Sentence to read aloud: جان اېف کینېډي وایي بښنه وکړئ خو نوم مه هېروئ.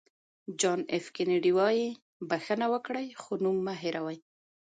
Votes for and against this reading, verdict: 2, 0, accepted